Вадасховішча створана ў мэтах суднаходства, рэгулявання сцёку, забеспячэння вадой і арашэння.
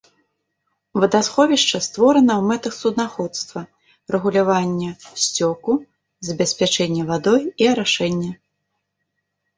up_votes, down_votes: 2, 0